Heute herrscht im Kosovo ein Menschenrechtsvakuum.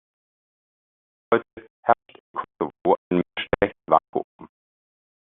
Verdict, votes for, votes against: rejected, 0, 2